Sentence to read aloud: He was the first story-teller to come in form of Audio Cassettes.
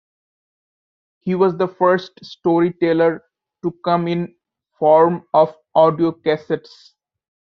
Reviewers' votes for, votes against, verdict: 3, 1, accepted